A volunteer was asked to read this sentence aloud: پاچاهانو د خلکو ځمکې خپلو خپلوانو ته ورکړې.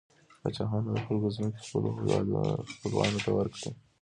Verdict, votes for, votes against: accepted, 2, 1